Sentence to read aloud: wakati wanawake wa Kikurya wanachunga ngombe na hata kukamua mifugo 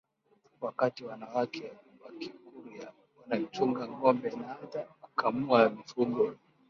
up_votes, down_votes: 5, 3